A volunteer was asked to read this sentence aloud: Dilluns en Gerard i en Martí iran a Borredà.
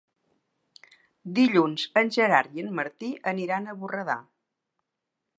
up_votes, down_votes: 0, 2